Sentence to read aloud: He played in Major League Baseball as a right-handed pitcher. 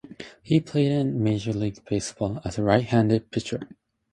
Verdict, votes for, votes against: rejected, 0, 2